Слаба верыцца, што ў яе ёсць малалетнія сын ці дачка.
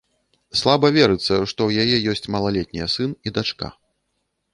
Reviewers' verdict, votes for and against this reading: rejected, 0, 2